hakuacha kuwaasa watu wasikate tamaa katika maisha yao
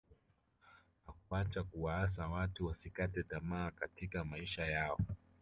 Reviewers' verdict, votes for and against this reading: accepted, 2, 0